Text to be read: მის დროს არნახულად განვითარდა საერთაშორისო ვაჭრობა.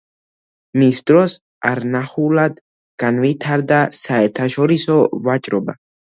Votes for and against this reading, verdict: 2, 0, accepted